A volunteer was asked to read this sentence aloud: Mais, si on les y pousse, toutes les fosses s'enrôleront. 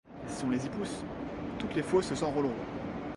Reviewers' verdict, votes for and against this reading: rejected, 1, 2